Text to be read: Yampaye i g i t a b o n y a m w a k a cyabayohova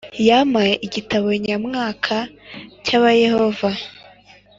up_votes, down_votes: 2, 0